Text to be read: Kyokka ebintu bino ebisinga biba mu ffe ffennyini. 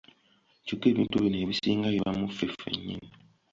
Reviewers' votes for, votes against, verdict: 2, 0, accepted